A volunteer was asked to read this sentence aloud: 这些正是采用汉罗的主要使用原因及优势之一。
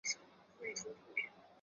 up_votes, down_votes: 0, 2